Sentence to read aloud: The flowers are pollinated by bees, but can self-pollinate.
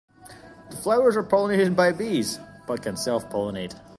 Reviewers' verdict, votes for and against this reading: accepted, 2, 1